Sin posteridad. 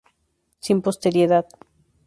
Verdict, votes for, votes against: rejected, 0, 2